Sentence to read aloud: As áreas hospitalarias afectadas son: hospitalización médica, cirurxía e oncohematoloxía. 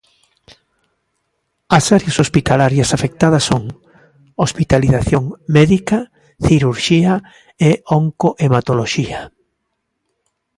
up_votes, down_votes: 2, 0